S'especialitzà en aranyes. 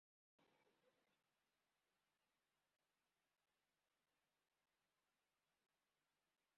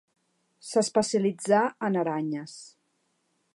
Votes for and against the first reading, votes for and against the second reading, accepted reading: 0, 2, 3, 0, second